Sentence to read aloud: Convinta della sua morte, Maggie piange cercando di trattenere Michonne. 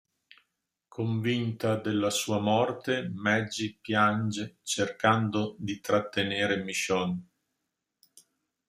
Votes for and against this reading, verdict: 0, 2, rejected